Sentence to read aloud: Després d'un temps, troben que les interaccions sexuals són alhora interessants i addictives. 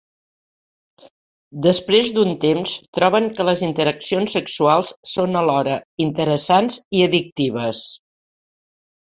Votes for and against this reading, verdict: 4, 0, accepted